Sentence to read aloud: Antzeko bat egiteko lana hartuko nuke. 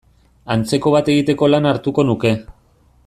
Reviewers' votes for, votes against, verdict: 2, 0, accepted